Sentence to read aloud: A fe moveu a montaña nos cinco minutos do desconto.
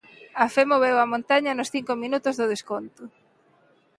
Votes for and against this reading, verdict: 2, 0, accepted